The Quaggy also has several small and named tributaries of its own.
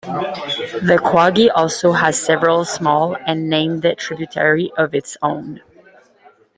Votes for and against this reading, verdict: 1, 2, rejected